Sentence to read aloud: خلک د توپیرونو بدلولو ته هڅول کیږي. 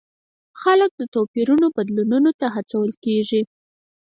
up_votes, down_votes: 2, 4